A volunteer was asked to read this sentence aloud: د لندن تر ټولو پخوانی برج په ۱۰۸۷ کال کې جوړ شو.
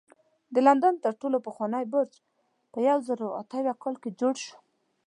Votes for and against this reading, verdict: 0, 2, rejected